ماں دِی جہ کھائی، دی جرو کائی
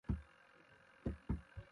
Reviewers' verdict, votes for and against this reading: rejected, 0, 2